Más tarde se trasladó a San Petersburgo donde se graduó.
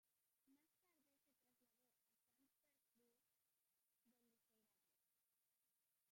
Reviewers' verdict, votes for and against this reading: rejected, 0, 2